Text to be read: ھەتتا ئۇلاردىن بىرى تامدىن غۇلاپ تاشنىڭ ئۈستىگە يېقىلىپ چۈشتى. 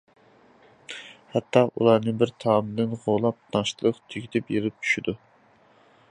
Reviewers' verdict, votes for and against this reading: rejected, 0, 2